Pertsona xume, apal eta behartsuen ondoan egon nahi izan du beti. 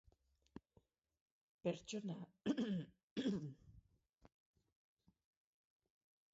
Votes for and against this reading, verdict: 0, 8, rejected